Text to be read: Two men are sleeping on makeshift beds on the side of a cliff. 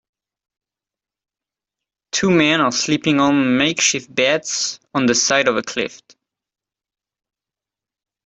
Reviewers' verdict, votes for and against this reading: accepted, 2, 0